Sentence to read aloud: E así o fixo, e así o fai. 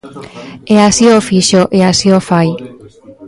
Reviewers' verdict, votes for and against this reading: rejected, 1, 2